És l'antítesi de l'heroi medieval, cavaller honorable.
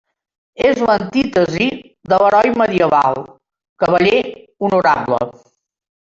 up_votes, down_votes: 1, 2